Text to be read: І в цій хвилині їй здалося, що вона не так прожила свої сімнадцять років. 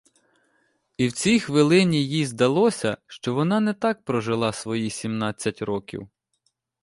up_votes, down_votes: 2, 0